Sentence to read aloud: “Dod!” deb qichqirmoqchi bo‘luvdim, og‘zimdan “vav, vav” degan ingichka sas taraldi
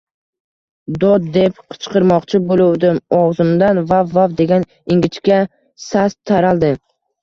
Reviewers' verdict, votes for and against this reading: accepted, 2, 1